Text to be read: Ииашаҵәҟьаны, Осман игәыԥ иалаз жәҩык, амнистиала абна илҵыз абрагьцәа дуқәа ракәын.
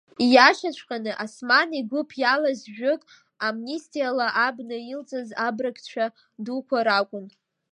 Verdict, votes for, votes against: rejected, 1, 2